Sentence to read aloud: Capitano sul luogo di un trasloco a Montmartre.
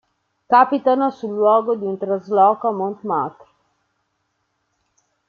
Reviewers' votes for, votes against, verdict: 0, 2, rejected